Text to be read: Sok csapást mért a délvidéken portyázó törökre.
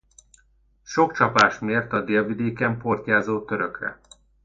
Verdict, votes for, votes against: accepted, 2, 0